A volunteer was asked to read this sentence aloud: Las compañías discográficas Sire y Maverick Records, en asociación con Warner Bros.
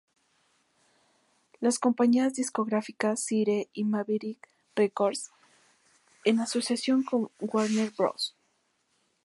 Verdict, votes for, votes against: rejected, 2, 2